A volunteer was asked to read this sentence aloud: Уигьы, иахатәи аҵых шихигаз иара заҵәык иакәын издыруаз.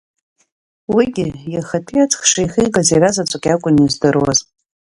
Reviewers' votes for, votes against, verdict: 3, 2, accepted